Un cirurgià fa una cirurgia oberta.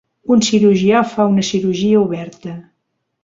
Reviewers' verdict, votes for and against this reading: accepted, 3, 0